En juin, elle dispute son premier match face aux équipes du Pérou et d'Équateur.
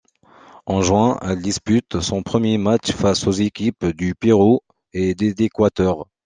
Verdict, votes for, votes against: rejected, 0, 2